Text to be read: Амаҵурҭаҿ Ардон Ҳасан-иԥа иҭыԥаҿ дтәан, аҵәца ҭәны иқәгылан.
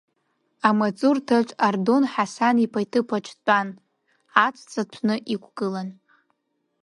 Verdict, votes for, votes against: rejected, 1, 2